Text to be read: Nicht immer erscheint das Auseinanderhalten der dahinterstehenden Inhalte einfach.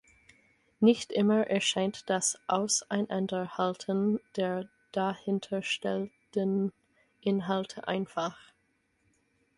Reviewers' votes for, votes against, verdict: 6, 2, accepted